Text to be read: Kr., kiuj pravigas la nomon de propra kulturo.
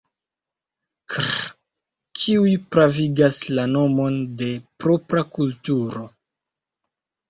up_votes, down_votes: 0, 2